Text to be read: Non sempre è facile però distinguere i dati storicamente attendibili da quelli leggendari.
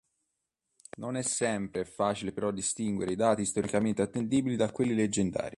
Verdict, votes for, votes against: rejected, 1, 2